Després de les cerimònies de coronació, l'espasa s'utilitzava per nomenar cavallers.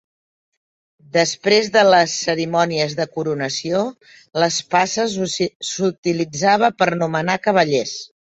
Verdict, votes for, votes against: rejected, 0, 2